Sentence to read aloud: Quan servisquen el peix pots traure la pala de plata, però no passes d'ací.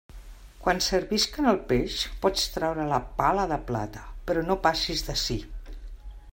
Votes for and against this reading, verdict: 0, 2, rejected